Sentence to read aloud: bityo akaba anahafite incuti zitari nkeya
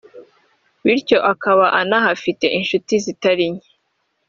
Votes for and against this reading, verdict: 1, 2, rejected